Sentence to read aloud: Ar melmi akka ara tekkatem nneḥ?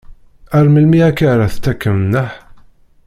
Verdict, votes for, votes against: rejected, 0, 2